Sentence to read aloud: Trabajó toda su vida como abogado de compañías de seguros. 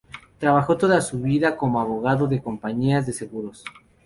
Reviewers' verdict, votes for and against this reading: accepted, 2, 0